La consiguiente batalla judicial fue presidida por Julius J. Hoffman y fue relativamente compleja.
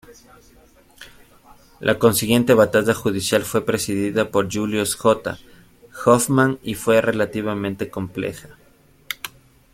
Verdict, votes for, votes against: accepted, 2, 0